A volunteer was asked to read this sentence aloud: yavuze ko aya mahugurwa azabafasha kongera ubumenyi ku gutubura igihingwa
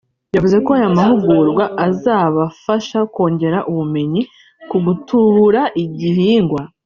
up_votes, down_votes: 1, 2